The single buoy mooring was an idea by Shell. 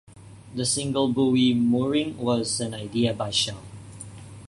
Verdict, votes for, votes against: accepted, 2, 1